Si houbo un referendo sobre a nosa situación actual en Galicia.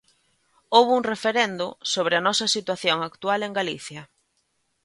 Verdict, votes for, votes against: rejected, 1, 3